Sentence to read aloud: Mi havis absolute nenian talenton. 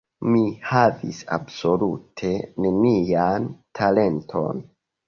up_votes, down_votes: 3, 0